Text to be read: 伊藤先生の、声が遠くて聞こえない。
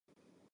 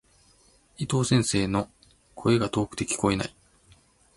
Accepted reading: second